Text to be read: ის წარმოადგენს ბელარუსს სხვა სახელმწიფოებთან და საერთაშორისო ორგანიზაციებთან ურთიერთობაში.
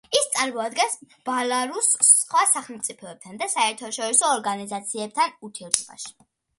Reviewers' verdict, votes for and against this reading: rejected, 0, 2